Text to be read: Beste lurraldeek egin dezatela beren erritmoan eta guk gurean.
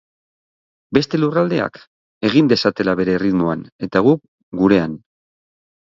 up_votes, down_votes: 0, 6